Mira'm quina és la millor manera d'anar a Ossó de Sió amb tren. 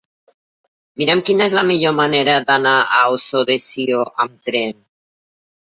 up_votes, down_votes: 1, 2